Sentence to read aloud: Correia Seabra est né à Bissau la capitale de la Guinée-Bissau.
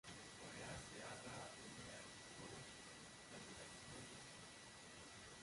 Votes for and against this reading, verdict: 0, 2, rejected